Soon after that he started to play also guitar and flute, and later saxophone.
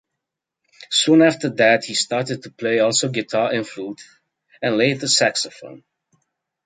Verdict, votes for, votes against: accepted, 2, 0